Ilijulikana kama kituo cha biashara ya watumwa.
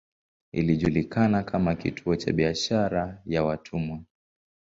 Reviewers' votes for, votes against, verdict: 2, 2, rejected